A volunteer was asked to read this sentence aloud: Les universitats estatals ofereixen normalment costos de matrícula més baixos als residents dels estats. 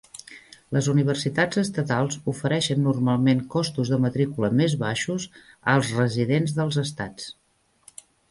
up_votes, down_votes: 3, 0